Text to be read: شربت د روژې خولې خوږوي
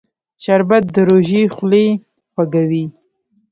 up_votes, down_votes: 0, 2